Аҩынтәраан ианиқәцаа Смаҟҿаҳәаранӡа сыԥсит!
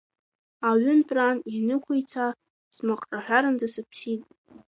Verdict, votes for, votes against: rejected, 0, 2